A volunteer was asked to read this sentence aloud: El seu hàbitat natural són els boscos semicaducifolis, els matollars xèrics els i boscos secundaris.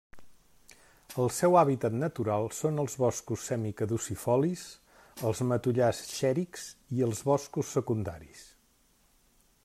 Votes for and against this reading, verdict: 2, 0, accepted